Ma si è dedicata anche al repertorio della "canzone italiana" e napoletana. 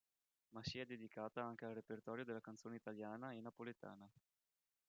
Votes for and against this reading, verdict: 0, 2, rejected